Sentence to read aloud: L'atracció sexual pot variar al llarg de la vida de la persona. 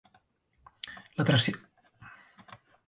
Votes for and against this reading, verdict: 0, 2, rejected